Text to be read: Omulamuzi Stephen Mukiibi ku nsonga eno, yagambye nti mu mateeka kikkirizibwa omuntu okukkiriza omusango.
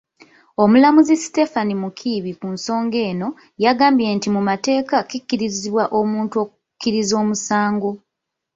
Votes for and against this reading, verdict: 1, 2, rejected